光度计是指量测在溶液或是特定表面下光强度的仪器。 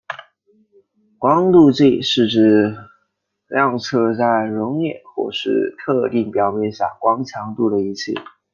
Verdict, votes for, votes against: accepted, 2, 0